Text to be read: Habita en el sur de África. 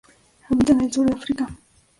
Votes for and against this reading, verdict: 0, 2, rejected